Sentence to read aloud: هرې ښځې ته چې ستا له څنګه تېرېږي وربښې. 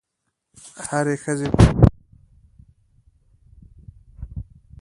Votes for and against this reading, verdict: 0, 2, rejected